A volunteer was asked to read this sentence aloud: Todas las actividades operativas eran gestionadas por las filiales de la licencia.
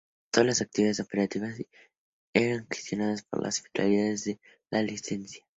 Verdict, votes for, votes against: rejected, 0, 2